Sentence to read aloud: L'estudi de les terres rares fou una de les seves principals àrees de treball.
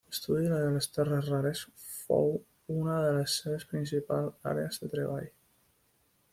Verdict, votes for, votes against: rejected, 1, 2